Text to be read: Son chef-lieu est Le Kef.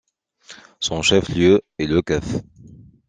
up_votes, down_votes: 2, 0